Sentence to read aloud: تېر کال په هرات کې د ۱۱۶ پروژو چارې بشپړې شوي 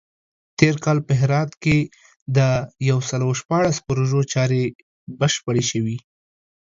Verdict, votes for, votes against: rejected, 0, 2